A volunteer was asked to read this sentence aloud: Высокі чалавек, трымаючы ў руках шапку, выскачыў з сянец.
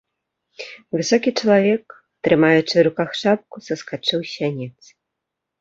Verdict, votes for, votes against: rejected, 0, 2